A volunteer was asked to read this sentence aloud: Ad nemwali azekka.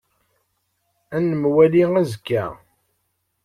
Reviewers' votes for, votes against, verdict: 2, 0, accepted